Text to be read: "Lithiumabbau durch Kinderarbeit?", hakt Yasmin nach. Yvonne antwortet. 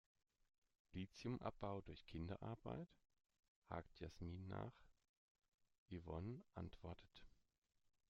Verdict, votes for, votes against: accepted, 2, 0